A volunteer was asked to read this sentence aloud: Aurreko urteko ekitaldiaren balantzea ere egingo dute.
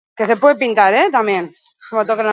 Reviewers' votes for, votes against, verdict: 0, 4, rejected